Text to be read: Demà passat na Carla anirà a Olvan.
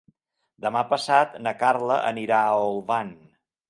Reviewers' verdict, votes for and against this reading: accepted, 3, 0